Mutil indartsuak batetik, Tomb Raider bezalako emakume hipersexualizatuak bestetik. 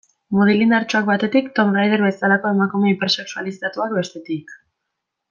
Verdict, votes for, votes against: accepted, 2, 1